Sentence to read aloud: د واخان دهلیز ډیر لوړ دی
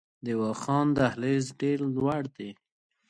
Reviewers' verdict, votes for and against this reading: accepted, 2, 0